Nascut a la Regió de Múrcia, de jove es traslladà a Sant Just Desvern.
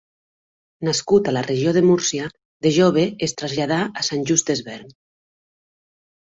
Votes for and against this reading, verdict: 3, 0, accepted